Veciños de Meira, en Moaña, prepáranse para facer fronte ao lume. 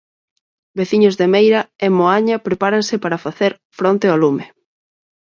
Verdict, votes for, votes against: accepted, 4, 2